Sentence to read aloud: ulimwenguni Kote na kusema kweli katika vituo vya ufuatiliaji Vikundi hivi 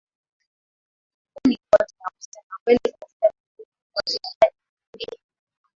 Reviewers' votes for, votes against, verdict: 0, 2, rejected